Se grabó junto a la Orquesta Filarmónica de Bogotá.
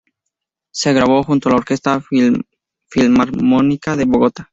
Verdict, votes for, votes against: rejected, 0, 2